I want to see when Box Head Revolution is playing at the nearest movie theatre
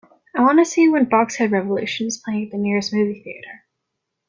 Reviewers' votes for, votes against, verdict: 3, 0, accepted